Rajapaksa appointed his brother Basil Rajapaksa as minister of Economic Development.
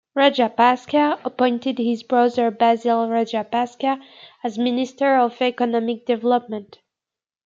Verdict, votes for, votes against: accepted, 2, 0